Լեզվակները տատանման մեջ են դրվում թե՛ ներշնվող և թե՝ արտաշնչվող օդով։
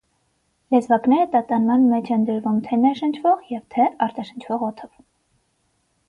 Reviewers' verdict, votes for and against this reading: accepted, 6, 0